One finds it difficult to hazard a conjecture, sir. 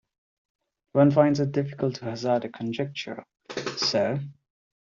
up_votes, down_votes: 2, 0